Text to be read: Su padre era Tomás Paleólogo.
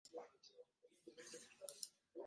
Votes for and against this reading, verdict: 0, 2, rejected